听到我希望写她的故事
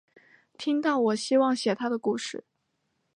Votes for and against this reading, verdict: 2, 0, accepted